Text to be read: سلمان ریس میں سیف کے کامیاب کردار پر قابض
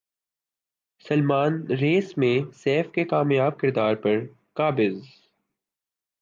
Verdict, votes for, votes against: rejected, 0, 2